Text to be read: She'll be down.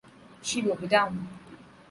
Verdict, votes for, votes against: accepted, 2, 0